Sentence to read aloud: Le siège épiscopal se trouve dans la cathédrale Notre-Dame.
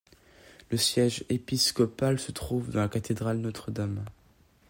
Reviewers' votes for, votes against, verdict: 2, 0, accepted